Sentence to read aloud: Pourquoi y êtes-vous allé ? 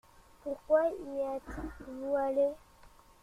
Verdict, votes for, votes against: rejected, 0, 2